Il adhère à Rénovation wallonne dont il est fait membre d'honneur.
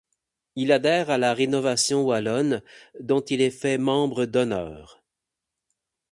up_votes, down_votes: 8, 0